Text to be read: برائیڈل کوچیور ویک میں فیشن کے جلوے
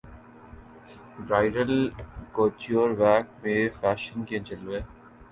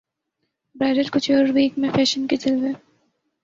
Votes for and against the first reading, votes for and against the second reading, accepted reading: 2, 2, 4, 0, second